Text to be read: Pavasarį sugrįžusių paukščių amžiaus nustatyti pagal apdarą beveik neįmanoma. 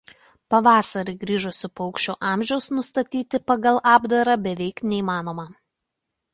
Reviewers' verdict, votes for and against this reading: rejected, 0, 2